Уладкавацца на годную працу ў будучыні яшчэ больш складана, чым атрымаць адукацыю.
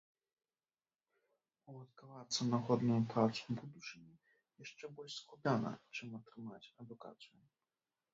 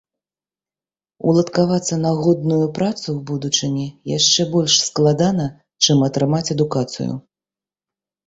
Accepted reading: second